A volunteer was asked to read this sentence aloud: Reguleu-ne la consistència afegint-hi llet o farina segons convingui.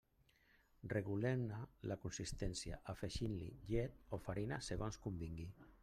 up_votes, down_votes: 1, 2